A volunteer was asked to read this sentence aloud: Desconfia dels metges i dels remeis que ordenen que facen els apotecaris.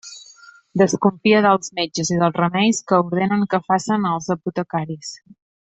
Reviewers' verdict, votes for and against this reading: rejected, 1, 2